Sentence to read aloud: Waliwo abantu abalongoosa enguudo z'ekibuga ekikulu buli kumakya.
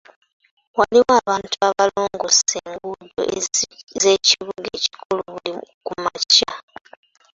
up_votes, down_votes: 1, 2